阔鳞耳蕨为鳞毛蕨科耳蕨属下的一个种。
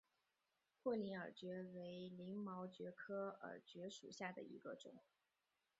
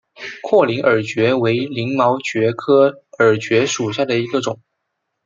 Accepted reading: second